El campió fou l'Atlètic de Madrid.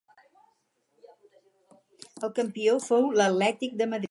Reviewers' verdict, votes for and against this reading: rejected, 2, 2